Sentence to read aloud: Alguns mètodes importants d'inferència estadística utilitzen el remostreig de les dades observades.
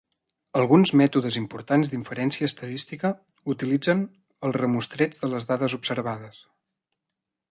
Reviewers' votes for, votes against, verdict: 2, 0, accepted